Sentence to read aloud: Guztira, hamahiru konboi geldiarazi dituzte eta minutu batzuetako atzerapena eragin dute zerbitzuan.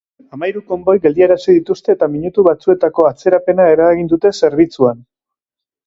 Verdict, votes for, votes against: rejected, 0, 2